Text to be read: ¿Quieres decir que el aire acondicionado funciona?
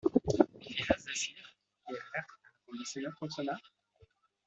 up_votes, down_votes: 1, 2